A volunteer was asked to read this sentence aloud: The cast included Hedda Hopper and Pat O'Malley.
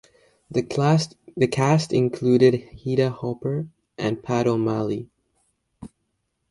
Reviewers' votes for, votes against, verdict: 1, 2, rejected